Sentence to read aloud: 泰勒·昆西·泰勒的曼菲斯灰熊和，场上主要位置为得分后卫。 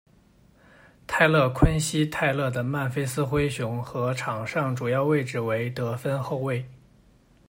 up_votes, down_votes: 2, 0